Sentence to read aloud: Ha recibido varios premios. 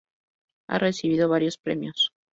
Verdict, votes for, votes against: accepted, 2, 0